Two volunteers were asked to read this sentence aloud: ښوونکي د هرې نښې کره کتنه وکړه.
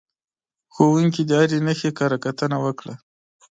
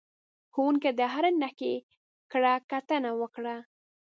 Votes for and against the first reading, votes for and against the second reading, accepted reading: 2, 0, 1, 2, first